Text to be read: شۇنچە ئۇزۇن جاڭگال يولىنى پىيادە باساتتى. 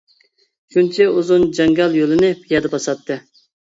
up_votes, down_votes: 0, 2